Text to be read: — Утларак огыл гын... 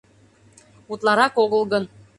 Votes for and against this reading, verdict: 2, 0, accepted